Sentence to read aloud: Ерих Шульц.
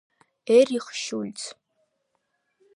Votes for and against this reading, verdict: 0, 2, rejected